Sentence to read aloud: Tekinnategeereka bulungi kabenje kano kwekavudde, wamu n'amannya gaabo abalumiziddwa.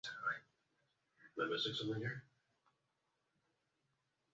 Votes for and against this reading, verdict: 0, 2, rejected